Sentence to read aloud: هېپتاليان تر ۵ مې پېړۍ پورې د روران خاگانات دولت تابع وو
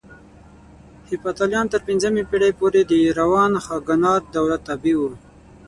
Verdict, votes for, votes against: rejected, 0, 2